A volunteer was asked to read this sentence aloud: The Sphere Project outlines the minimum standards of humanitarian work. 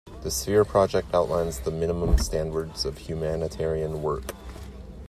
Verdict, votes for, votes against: accepted, 2, 1